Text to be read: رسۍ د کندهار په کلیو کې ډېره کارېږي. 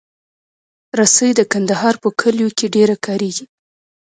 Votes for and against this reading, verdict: 2, 0, accepted